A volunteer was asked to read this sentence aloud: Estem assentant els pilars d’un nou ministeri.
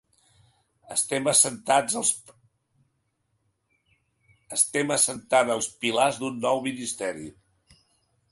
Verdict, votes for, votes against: rejected, 0, 2